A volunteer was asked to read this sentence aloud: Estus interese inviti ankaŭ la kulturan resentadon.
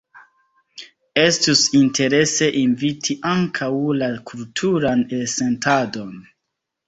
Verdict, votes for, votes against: accepted, 2, 1